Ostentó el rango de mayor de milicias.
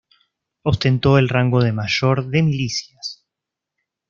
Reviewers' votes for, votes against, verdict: 2, 0, accepted